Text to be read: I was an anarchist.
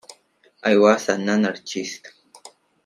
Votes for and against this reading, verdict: 2, 0, accepted